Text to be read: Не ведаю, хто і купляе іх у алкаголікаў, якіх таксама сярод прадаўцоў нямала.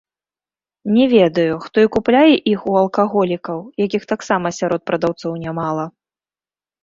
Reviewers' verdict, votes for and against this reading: rejected, 0, 2